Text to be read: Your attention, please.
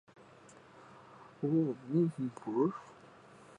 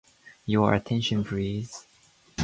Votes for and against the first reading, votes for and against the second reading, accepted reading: 1, 2, 2, 0, second